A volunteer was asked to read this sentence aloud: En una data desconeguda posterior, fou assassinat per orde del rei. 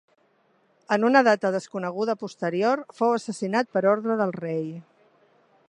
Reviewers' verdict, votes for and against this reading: accepted, 3, 0